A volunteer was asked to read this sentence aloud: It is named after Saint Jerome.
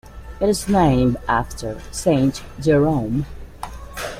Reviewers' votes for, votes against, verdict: 2, 0, accepted